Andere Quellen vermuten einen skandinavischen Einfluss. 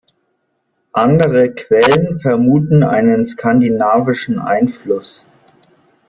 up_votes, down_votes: 2, 0